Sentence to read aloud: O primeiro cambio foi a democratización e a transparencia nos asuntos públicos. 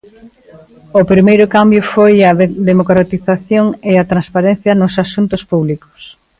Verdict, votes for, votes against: rejected, 1, 2